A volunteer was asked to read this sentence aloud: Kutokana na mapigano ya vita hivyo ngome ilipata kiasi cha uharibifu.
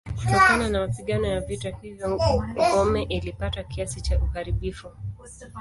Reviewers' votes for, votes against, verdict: 2, 0, accepted